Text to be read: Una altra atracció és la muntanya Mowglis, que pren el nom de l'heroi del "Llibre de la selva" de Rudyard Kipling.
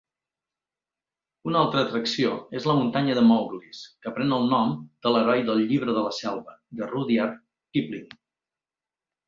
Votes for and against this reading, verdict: 0, 2, rejected